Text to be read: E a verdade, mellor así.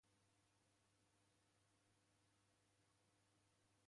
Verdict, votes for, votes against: rejected, 0, 2